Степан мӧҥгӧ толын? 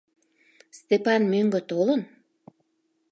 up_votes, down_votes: 2, 0